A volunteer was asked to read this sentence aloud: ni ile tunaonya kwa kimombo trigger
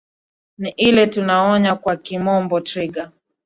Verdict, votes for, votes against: accepted, 2, 1